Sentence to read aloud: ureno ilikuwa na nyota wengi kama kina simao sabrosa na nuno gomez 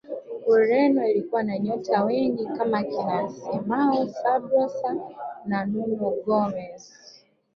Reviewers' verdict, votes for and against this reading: accepted, 2, 1